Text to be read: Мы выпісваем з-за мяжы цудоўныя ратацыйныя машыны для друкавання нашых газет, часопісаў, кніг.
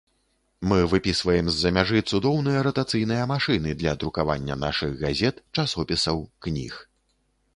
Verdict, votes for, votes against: accepted, 2, 0